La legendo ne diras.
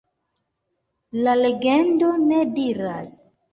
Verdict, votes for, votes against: accepted, 2, 0